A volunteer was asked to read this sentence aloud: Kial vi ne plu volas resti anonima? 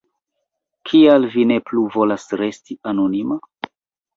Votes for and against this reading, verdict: 2, 0, accepted